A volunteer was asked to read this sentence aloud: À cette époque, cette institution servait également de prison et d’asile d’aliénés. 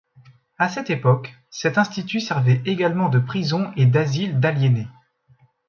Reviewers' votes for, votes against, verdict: 1, 2, rejected